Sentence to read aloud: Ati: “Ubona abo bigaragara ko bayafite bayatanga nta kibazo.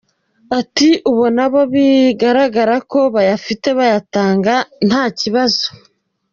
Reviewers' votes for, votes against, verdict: 2, 1, accepted